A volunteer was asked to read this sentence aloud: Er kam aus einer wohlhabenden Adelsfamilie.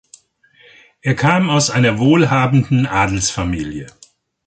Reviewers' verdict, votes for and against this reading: accepted, 2, 0